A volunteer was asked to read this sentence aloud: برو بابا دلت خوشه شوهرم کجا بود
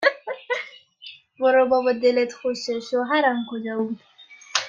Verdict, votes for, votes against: rejected, 0, 2